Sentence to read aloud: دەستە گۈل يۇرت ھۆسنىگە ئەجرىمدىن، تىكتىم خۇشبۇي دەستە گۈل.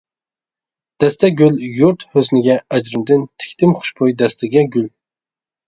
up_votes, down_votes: 0, 2